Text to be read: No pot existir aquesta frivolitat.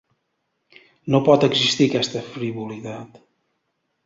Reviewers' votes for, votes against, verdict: 0, 2, rejected